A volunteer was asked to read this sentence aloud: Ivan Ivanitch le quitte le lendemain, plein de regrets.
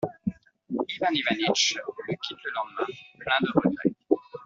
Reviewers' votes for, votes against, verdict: 0, 2, rejected